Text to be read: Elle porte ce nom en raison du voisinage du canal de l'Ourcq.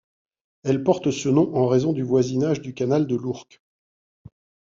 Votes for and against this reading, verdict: 2, 0, accepted